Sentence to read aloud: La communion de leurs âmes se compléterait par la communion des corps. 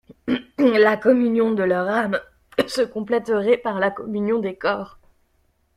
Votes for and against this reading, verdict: 1, 2, rejected